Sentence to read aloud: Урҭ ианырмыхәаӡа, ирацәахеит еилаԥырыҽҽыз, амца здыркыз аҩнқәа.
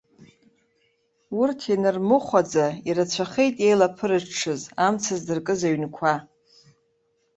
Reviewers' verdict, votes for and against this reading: rejected, 1, 2